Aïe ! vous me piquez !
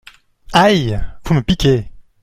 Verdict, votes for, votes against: accepted, 2, 0